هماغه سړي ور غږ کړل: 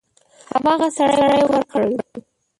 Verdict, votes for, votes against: rejected, 0, 4